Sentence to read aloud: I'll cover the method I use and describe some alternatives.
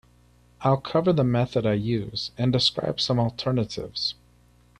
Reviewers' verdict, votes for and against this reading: accepted, 2, 0